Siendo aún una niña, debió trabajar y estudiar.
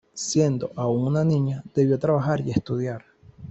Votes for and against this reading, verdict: 1, 2, rejected